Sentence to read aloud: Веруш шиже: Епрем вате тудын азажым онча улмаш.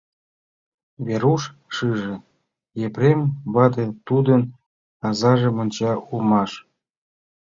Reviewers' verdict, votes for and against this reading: accepted, 2, 0